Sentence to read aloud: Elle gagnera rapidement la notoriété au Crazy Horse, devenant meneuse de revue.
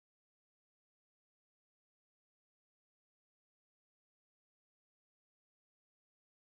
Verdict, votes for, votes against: rejected, 0, 2